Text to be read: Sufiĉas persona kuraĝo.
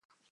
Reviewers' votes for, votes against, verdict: 1, 2, rejected